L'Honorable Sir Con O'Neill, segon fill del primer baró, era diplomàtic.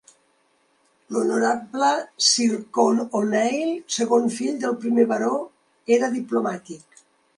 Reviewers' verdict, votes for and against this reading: accepted, 5, 0